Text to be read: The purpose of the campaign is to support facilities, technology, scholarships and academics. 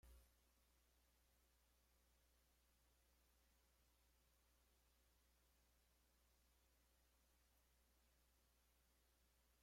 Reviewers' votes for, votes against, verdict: 0, 2, rejected